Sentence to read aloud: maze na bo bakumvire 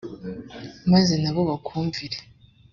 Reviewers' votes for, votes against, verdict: 1, 2, rejected